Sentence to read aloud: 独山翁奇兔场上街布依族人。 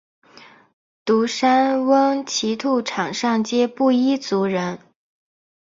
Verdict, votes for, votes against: accepted, 8, 0